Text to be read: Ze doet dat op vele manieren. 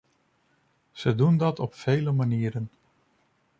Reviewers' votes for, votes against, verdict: 0, 2, rejected